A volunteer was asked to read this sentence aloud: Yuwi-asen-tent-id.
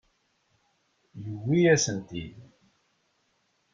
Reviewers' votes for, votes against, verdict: 1, 2, rejected